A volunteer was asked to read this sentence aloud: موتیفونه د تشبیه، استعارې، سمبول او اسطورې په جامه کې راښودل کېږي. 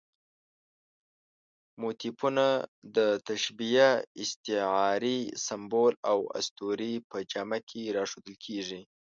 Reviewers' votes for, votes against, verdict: 2, 0, accepted